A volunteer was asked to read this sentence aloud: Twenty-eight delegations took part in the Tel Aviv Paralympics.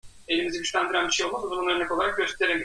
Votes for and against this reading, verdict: 0, 2, rejected